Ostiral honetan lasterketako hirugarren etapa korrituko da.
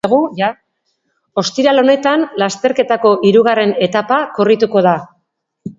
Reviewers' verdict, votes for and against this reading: rejected, 1, 2